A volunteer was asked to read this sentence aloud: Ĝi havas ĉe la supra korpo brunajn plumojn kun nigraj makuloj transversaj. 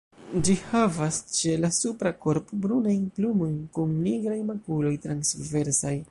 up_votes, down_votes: 0, 2